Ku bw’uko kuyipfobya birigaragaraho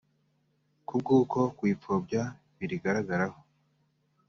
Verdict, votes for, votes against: accepted, 2, 0